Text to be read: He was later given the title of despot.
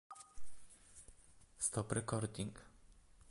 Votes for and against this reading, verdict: 0, 2, rejected